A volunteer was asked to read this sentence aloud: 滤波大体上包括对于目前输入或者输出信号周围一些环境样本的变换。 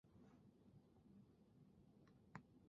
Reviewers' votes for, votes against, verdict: 1, 2, rejected